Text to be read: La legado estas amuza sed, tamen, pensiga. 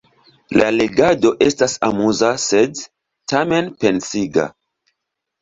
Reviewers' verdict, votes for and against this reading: rejected, 1, 2